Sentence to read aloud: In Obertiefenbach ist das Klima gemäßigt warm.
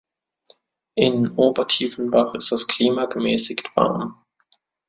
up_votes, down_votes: 1, 2